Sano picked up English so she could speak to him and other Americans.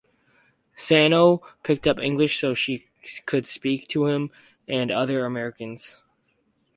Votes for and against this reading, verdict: 4, 0, accepted